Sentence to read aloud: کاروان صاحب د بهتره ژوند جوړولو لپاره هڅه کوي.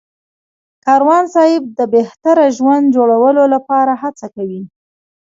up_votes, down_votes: 2, 1